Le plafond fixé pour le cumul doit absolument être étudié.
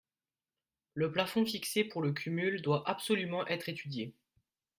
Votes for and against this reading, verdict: 3, 2, accepted